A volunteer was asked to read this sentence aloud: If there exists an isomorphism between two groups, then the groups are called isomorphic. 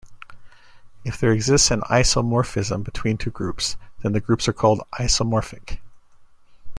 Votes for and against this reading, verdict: 2, 0, accepted